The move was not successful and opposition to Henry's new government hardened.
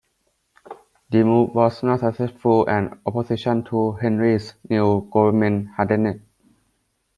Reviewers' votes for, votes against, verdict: 1, 2, rejected